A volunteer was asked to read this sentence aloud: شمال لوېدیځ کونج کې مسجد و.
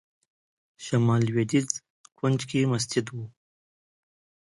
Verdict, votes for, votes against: accepted, 2, 0